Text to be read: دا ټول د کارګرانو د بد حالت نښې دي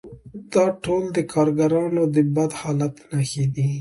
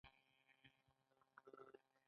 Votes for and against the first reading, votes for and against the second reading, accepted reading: 2, 0, 0, 2, first